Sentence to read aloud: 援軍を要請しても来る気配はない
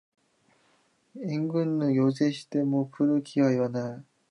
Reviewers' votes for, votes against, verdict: 1, 2, rejected